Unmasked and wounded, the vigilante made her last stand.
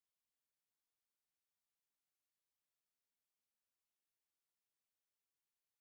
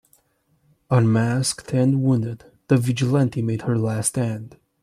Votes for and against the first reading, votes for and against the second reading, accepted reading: 0, 2, 2, 0, second